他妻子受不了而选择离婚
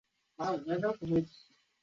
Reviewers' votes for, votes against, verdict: 2, 4, rejected